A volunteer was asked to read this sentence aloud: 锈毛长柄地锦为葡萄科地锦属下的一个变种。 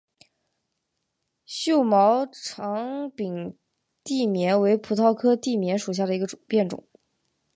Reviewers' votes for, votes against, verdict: 2, 2, rejected